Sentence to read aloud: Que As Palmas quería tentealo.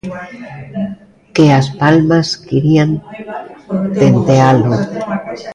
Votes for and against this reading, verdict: 0, 2, rejected